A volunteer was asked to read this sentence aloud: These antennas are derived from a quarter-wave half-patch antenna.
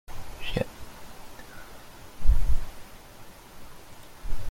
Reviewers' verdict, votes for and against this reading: rejected, 0, 2